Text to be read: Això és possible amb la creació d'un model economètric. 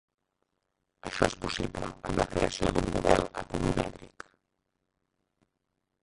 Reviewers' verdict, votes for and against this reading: rejected, 1, 4